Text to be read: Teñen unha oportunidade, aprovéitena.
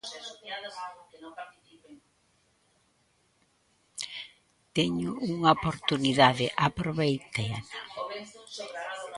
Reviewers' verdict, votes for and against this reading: rejected, 0, 2